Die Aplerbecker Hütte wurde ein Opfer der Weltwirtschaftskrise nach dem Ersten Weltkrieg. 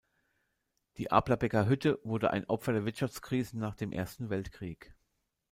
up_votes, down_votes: 1, 2